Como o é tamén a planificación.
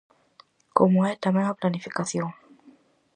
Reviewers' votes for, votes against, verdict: 4, 0, accepted